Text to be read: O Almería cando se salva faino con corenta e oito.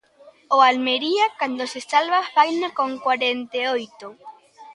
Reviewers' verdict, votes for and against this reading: rejected, 1, 2